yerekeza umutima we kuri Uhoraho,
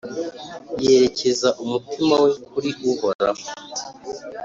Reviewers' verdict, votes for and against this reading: accepted, 2, 0